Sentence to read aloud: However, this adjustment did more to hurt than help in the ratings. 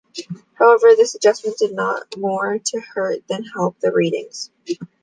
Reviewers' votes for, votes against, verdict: 1, 2, rejected